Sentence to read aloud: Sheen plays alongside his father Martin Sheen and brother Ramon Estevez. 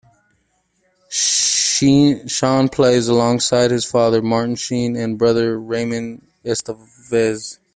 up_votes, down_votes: 0, 2